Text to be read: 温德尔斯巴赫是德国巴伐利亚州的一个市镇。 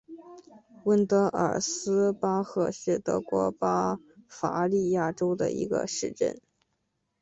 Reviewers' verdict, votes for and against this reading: accepted, 2, 0